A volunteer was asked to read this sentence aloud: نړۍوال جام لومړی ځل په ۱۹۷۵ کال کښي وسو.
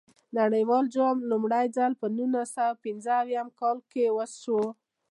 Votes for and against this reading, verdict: 0, 2, rejected